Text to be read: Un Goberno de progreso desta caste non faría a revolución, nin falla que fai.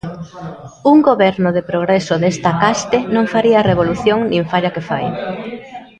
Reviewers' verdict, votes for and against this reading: accepted, 2, 0